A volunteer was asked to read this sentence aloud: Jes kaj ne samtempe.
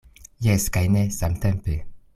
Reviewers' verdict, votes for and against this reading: accepted, 2, 0